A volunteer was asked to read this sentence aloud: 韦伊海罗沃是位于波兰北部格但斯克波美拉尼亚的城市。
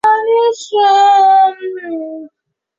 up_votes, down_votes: 0, 3